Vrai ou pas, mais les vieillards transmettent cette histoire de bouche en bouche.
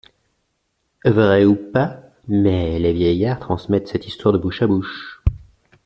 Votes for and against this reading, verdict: 0, 2, rejected